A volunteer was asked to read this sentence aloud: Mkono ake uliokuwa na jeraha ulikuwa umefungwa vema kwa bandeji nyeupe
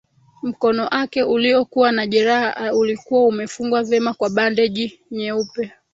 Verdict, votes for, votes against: rejected, 2, 3